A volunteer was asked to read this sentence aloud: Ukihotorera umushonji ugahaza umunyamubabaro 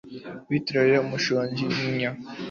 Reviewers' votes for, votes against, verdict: 1, 2, rejected